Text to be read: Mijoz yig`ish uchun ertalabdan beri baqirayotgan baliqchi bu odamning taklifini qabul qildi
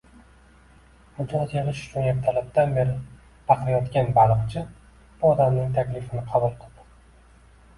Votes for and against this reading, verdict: 1, 2, rejected